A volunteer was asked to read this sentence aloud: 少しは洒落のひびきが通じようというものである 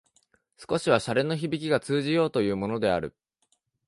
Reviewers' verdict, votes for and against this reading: accepted, 3, 0